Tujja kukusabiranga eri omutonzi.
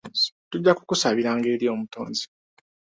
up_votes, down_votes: 2, 1